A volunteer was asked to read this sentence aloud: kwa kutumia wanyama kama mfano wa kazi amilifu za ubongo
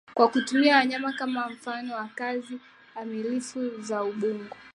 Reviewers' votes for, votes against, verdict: 2, 0, accepted